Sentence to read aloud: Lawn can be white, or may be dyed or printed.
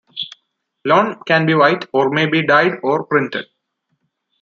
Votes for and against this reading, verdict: 2, 0, accepted